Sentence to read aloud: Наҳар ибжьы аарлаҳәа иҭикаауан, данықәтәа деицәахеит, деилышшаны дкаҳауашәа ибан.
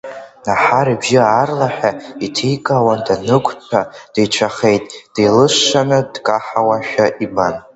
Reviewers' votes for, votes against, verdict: 2, 1, accepted